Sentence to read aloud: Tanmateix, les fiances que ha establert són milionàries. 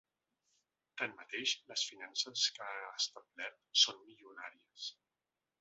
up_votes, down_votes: 2, 1